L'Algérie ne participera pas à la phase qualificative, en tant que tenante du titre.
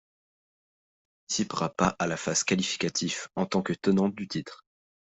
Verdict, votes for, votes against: rejected, 0, 2